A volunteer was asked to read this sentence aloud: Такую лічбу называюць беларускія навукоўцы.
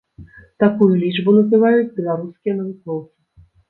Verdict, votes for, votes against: rejected, 1, 2